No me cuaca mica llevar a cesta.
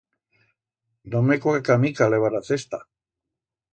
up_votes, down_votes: 1, 2